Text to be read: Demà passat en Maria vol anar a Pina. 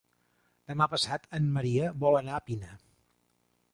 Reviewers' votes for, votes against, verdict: 3, 0, accepted